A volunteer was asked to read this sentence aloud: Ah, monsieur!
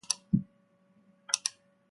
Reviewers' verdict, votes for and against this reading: rejected, 0, 2